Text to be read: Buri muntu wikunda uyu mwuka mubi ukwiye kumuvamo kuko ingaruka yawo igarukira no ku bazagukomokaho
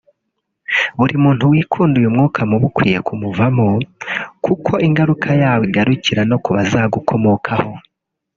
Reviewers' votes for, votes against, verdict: 2, 1, accepted